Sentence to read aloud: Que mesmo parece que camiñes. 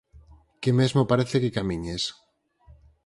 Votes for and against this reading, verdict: 4, 0, accepted